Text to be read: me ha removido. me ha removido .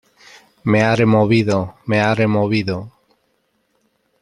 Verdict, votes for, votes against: rejected, 1, 2